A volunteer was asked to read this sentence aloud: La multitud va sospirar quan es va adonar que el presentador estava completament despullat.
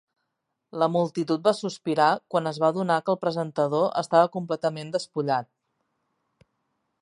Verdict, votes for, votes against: accepted, 3, 0